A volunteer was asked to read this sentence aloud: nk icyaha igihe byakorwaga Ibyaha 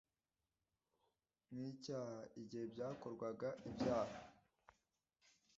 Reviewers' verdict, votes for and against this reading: rejected, 1, 2